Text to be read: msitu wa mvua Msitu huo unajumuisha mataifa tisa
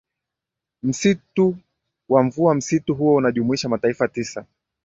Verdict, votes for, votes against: accepted, 2, 0